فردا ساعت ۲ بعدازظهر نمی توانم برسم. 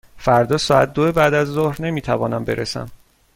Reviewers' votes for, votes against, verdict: 0, 2, rejected